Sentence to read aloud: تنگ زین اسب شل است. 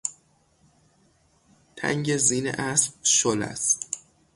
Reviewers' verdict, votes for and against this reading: accepted, 6, 0